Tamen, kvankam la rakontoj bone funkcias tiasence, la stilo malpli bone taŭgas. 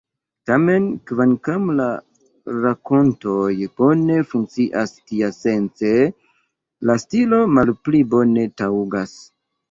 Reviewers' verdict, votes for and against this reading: rejected, 1, 2